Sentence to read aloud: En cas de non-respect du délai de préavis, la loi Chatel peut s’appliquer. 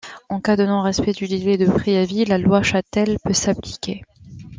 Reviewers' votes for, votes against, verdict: 2, 0, accepted